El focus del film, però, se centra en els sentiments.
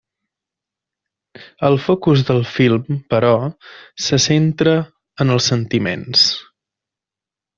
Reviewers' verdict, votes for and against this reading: accepted, 4, 0